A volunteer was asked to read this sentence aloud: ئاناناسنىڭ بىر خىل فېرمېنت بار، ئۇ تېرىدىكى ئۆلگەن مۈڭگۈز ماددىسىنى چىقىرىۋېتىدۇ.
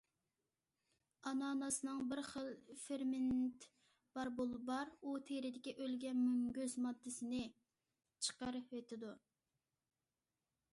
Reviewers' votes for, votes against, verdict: 0, 2, rejected